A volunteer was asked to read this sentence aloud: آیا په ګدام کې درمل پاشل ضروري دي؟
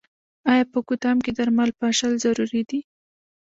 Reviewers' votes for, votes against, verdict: 0, 2, rejected